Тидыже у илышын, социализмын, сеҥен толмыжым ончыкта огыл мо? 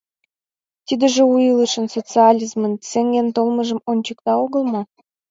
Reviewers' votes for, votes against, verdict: 2, 0, accepted